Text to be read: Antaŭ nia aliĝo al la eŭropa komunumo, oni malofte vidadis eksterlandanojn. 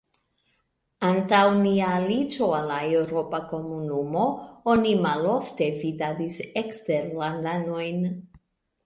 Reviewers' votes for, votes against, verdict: 2, 0, accepted